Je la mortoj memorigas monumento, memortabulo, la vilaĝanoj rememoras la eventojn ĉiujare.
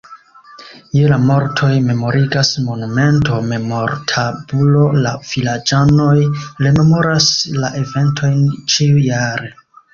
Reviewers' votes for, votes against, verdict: 2, 3, rejected